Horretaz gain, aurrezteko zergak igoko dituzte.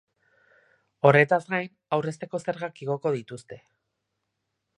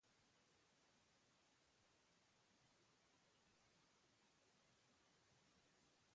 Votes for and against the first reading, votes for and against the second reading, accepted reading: 2, 0, 0, 3, first